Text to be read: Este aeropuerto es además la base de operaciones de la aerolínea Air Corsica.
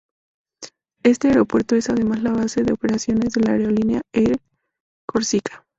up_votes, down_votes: 0, 2